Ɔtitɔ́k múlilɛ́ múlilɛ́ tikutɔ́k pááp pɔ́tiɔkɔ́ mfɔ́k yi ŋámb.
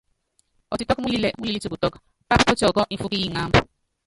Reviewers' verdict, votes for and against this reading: rejected, 1, 2